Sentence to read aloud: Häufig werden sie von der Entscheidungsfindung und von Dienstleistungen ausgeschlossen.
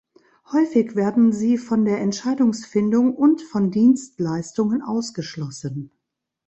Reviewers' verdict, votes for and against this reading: accepted, 2, 0